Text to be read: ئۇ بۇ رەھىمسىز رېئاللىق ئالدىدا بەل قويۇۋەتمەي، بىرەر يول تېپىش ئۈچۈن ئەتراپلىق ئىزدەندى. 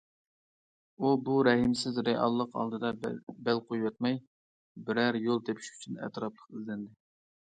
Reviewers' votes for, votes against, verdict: 1, 2, rejected